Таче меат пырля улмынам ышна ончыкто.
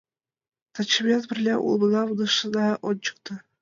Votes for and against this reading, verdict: 1, 2, rejected